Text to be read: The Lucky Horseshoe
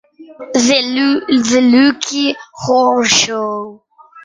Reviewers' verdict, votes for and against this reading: rejected, 0, 2